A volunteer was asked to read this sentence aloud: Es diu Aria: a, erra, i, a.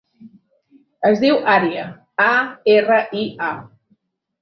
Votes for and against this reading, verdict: 2, 0, accepted